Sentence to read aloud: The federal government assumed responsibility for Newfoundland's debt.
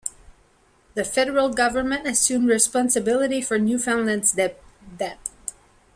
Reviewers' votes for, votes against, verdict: 0, 2, rejected